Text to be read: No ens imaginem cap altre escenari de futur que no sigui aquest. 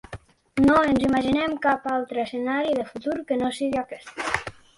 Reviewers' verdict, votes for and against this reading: accepted, 4, 1